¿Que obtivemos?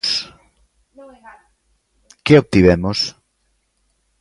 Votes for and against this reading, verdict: 1, 2, rejected